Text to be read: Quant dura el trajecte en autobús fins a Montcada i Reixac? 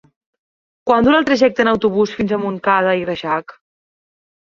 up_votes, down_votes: 2, 0